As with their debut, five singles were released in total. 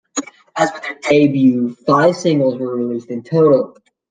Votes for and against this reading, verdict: 2, 1, accepted